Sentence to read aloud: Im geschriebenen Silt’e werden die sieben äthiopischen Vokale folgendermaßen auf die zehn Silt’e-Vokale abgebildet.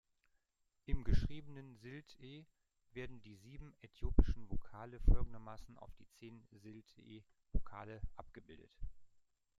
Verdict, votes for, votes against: accepted, 2, 1